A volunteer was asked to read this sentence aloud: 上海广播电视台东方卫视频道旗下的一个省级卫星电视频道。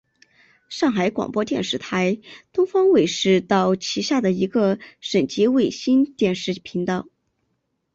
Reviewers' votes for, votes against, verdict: 0, 2, rejected